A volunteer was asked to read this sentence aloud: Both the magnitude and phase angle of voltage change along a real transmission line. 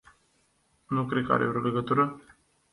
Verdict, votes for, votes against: rejected, 0, 2